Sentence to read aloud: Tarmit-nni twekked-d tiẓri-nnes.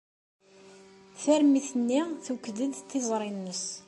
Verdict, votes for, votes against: accepted, 2, 0